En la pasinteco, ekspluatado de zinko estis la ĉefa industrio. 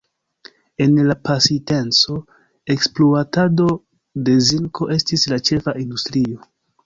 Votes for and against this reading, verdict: 1, 2, rejected